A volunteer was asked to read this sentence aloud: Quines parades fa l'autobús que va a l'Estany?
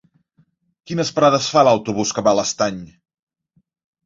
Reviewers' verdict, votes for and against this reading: accepted, 3, 0